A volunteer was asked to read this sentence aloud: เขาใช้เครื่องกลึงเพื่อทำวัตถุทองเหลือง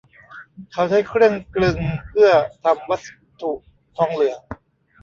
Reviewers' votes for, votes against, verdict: 0, 2, rejected